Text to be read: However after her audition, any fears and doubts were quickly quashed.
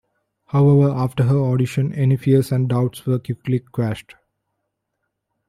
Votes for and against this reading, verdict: 1, 2, rejected